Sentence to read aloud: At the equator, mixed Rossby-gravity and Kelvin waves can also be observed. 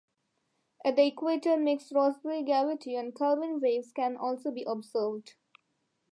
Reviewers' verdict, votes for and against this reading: accepted, 2, 0